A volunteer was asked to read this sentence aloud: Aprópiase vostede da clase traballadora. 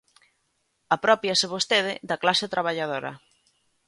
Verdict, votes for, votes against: accepted, 2, 0